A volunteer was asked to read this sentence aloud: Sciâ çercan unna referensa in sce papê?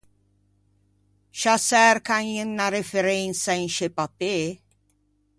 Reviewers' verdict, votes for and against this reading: accepted, 2, 0